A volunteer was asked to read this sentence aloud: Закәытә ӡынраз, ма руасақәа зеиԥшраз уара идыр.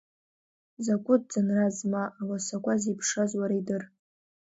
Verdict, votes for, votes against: accepted, 2, 0